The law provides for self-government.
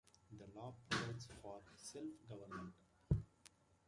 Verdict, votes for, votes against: accepted, 2, 1